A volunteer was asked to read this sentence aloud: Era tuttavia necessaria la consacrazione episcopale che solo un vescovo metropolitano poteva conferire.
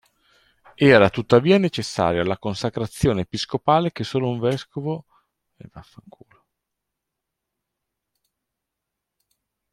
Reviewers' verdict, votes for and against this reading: rejected, 0, 2